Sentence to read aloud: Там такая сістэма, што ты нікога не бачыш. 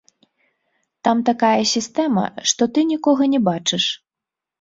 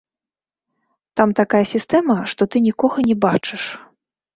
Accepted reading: first